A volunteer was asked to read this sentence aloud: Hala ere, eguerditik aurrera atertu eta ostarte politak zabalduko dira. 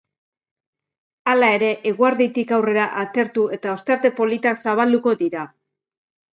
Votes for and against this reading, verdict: 2, 0, accepted